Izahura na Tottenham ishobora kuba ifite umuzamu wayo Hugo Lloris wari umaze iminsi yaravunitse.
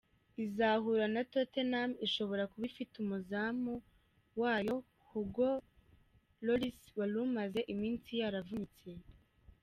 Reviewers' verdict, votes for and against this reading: rejected, 1, 2